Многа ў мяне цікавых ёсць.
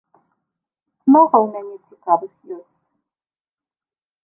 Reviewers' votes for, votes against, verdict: 0, 2, rejected